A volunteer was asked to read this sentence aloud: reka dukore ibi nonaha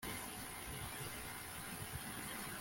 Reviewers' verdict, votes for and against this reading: rejected, 0, 2